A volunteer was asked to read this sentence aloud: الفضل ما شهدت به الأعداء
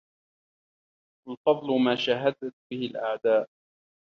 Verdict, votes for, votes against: rejected, 1, 2